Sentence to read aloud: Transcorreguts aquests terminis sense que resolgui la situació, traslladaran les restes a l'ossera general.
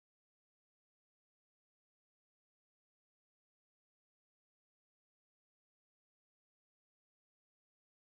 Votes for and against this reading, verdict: 0, 2, rejected